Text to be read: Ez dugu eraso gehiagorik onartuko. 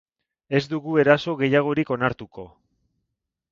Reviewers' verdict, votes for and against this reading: rejected, 2, 2